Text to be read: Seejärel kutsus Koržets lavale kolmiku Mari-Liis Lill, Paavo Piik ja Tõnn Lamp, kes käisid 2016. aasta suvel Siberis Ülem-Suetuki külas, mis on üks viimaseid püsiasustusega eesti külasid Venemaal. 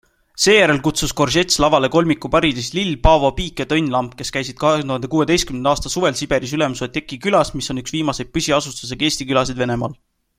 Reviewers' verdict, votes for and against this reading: rejected, 0, 2